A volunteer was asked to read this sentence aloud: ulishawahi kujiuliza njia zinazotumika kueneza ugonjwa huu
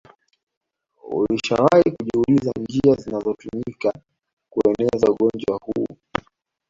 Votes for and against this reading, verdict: 1, 2, rejected